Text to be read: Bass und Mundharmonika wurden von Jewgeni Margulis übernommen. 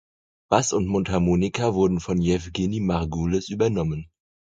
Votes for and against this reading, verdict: 4, 0, accepted